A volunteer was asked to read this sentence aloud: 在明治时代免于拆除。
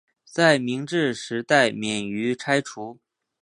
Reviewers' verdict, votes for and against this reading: accepted, 2, 0